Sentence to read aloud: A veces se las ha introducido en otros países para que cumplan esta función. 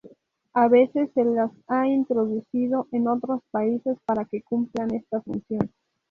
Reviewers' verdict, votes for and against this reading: accepted, 2, 0